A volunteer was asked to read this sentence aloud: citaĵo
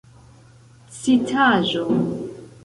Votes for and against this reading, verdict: 0, 2, rejected